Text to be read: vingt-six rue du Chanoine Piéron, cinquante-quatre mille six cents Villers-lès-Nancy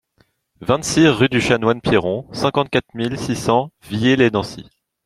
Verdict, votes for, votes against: rejected, 0, 2